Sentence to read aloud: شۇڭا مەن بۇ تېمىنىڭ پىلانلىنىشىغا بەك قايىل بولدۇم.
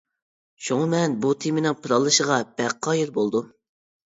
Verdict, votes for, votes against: rejected, 1, 2